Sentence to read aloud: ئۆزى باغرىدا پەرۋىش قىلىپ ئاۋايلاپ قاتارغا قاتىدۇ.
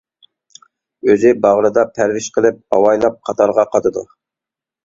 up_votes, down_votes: 2, 0